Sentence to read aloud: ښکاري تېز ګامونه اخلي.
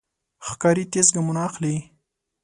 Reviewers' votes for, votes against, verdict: 2, 0, accepted